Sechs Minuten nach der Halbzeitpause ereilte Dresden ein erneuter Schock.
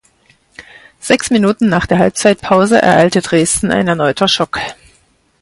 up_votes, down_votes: 4, 0